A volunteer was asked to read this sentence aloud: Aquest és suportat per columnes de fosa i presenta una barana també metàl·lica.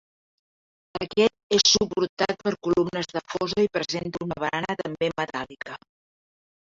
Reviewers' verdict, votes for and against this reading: rejected, 1, 2